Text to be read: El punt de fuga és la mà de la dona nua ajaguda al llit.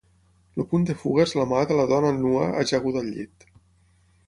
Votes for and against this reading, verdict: 6, 0, accepted